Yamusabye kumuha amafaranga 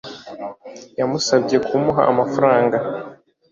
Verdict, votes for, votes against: accepted, 2, 0